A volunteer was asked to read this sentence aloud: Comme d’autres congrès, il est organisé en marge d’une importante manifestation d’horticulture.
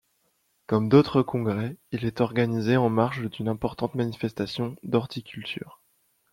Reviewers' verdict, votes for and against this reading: accepted, 2, 0